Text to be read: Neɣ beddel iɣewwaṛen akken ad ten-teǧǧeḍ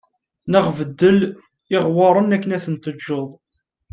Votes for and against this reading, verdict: 2, 0, accepted